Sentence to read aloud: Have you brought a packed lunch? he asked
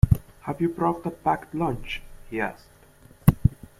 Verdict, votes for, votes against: accepted, 2, 0